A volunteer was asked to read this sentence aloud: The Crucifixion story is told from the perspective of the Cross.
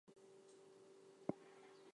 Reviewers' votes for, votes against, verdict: 0, 2, rejected